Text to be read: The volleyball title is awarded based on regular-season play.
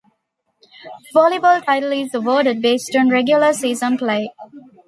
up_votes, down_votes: 1, 2